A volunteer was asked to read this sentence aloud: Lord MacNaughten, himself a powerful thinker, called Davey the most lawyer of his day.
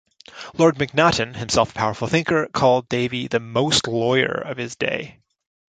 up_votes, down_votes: 2, 0